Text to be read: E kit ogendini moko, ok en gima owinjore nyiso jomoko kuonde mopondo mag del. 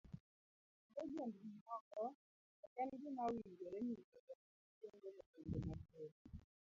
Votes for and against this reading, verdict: 0, 2, rejected